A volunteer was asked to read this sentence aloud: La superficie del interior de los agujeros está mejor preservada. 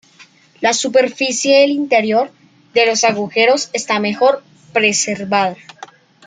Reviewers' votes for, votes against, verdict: 1, 2, rejected